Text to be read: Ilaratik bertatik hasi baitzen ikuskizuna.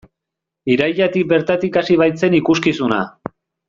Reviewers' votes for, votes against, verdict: 1, 2, rejected